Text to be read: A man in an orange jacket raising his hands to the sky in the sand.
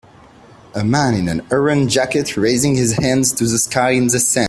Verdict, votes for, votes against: rejected, 0, 2